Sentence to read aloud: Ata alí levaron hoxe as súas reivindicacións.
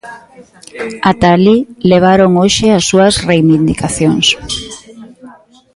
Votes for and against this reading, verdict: 1, 2, rejected